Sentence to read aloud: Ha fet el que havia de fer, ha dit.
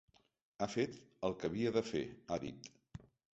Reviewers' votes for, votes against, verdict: 3, 0, accepted